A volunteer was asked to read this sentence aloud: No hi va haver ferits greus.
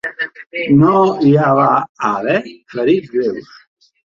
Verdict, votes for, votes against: rejected, 0, 4